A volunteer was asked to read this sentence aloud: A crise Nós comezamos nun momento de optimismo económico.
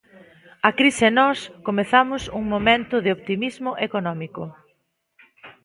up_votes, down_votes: 1, 2